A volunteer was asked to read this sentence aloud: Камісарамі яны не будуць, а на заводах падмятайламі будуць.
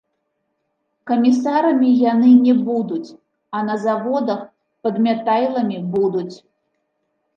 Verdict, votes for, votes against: accepted, 2, 0